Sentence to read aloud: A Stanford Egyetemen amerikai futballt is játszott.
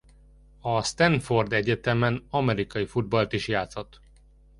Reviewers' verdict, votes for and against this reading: accepted, 2, 0